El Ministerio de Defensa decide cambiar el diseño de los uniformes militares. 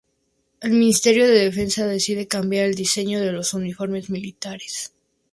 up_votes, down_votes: 4, 0